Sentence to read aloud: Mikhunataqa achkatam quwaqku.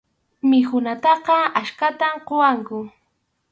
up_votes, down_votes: 4, 0